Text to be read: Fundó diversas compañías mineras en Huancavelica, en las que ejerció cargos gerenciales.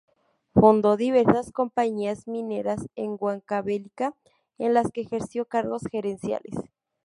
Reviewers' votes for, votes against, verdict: 0, 2, rejected